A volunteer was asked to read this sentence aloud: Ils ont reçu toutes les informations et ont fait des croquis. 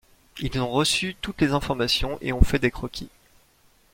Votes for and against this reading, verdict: 2, 0, accepted